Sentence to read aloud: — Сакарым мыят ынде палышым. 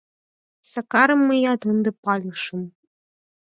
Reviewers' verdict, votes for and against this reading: rejected, 0, 4